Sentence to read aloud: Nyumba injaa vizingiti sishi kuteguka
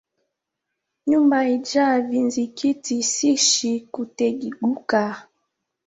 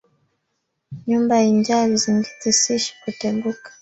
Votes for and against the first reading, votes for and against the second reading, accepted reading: 0, 2, 2, 0, second